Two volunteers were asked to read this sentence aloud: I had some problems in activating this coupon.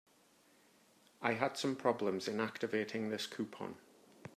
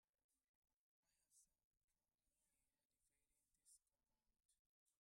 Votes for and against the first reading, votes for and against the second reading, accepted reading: 2, 0, 0, 2, first